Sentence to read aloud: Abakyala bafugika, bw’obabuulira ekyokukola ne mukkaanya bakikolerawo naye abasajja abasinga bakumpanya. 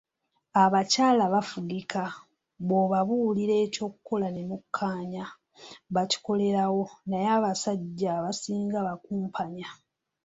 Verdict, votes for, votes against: rejected, 1, 2